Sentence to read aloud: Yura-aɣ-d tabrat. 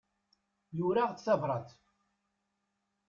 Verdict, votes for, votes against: rejected, 0, 2